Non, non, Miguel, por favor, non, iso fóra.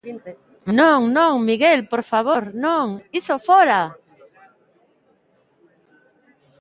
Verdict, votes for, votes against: accepted, 2, 0